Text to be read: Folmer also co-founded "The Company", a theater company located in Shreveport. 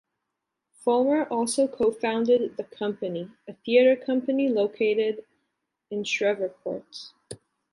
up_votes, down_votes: 2, 0